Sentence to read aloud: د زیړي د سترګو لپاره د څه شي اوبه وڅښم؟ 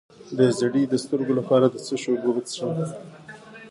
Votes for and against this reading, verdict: 0, 2, rejected